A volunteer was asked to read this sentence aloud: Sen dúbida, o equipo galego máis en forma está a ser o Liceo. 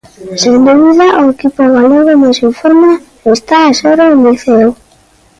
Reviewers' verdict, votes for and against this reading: rejected, 0, 2